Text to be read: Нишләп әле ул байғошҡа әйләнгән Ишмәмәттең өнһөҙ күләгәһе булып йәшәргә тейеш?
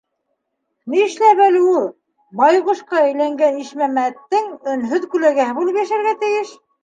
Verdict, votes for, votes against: accepted, 2, 0